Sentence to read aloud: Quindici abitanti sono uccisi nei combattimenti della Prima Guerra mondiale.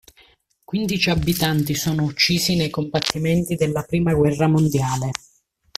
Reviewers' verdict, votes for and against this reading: accepted, 2, 0